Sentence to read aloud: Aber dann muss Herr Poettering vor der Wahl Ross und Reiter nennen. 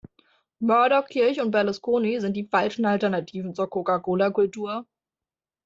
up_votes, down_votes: 0, 2